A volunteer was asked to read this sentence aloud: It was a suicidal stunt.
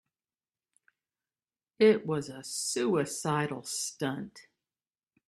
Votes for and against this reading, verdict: 2, 0, accepted